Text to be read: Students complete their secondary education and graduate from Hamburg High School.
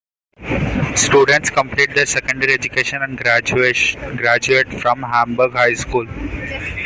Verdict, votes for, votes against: rejected, 1, 2